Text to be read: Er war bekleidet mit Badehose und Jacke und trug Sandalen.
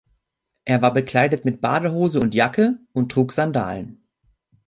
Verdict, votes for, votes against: accepted, 2, 0